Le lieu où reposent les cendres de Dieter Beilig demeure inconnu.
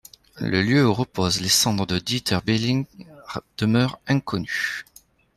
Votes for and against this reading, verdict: 0, 2, rejected